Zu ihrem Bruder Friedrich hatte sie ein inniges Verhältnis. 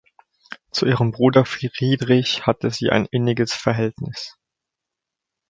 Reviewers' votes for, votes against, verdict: 1, 2, rejected